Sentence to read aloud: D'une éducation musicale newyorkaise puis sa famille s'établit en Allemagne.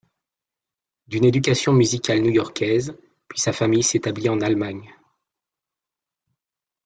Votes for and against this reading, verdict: 2, 1, accepted